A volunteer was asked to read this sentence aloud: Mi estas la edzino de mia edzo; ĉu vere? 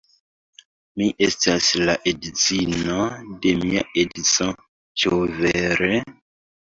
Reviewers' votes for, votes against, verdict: 2, 0, accepted